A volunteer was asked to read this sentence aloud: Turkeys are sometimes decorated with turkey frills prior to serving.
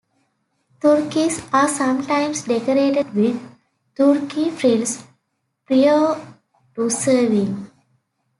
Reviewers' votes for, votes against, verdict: 0, 2, rejected